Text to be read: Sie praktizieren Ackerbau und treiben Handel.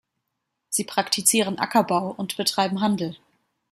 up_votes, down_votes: 1, 2